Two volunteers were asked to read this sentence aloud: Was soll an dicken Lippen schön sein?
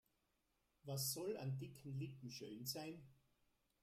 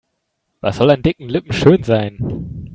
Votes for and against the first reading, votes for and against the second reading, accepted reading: 0, 2, 4, 0, second